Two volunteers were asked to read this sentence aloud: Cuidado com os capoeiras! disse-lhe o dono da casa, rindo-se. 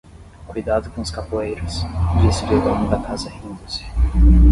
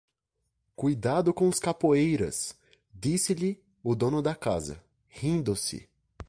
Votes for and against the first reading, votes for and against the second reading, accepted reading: 0, 5, 2, 0, second